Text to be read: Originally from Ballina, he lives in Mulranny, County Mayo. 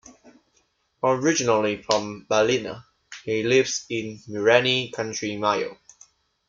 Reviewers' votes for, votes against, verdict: 1, 2, rejected